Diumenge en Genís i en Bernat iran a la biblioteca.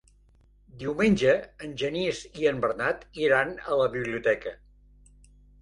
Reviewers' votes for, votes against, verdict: 3, 0, accepted